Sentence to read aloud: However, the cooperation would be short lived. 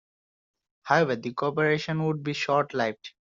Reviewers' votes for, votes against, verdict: 1, 2, rejected